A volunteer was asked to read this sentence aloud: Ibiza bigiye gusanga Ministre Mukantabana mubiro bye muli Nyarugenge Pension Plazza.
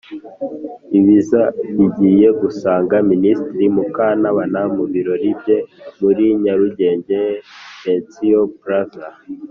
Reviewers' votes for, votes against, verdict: 0, 2, rejected